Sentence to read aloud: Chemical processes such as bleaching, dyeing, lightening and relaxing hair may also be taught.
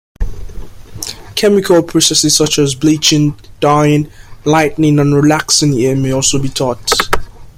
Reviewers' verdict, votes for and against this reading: accepted, 2, 0